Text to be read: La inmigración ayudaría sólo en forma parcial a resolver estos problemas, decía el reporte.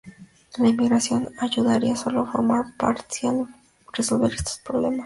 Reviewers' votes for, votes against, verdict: 0, 2, rejected